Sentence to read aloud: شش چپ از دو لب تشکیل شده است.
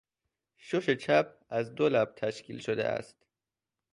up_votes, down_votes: 2, 0